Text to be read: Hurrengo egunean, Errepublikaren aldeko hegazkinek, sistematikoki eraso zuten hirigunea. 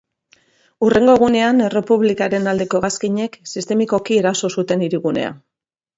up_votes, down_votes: 0, 2